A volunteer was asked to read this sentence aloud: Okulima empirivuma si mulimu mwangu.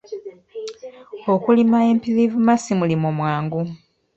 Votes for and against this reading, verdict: 2, 0, accepted